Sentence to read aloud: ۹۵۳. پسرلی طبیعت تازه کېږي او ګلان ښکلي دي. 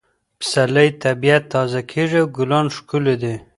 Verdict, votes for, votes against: rejected, 0, 2